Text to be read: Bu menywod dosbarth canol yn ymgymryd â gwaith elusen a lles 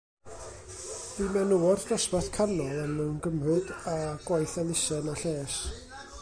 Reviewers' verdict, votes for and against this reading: rejected, 1, 2